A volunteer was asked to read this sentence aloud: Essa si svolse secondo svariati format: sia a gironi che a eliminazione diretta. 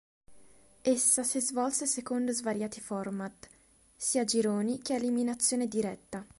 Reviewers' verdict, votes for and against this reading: accepted, 3, 0